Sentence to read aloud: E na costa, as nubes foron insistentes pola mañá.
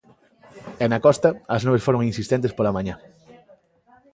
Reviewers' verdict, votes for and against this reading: accepted, 2, 0